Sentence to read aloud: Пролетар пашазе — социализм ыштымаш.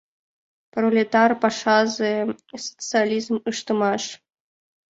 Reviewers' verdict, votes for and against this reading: accepted, 2, 0